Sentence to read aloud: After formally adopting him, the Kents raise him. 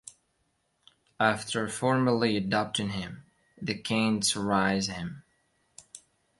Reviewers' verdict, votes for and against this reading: rejected, 1, 2